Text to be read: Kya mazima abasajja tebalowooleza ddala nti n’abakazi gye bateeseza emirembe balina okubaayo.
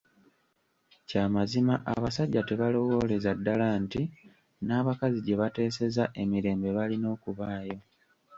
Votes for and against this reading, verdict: 1, 2, rejected